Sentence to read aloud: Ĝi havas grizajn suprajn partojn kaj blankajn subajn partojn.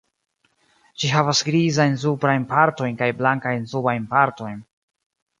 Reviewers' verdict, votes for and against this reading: accepted, 2, 0